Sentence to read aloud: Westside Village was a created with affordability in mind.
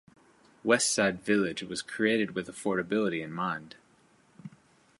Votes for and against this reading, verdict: 1, 2, rejected